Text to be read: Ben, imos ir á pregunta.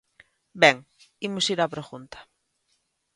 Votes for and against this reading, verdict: 2, 0, accepted